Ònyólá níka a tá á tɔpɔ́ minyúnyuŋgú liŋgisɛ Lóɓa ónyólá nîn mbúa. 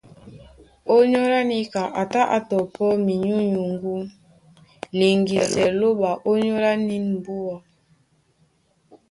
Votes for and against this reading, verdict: 2, 0, accepted